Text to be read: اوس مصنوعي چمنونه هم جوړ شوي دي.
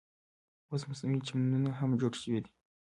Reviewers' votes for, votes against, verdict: 1, 2, rejected